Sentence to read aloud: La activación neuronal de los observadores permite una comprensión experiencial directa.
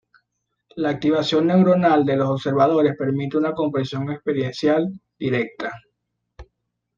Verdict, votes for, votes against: accepted, 2, 0